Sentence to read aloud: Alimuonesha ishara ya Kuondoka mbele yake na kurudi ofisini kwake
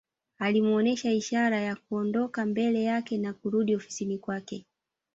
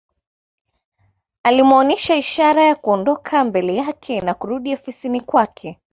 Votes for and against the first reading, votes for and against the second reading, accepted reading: 1, 2, 2, 0, second